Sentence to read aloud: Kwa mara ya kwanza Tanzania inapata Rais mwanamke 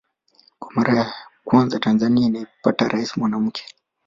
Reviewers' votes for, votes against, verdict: 0, 2, rejected